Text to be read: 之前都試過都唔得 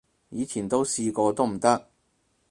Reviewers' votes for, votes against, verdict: 2, 4, rejected